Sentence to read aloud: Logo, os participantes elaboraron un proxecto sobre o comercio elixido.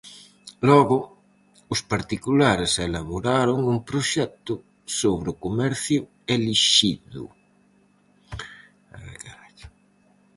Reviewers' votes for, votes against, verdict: 0, 4, rejected